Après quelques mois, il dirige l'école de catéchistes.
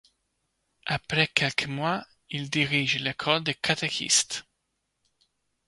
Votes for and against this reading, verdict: 1, 2, rejected